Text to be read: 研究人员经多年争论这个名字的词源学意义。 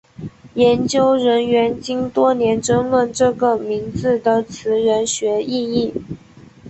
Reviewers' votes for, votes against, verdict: 2, 0, accepted